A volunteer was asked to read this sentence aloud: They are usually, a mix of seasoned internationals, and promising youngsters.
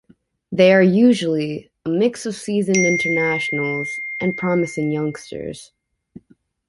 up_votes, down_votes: 2, 0